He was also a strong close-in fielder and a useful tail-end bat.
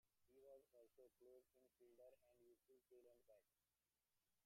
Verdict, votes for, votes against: rejected, 0, 2